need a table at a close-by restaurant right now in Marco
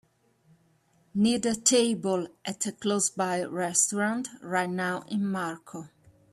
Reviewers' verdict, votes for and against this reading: accepted, 2, 0